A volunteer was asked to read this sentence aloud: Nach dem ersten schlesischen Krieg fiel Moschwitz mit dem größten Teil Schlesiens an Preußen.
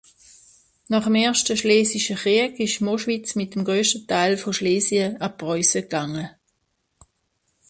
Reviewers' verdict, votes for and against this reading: rejected, 0, 2